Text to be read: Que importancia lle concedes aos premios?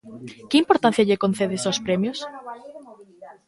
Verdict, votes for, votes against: accepted, 2, 0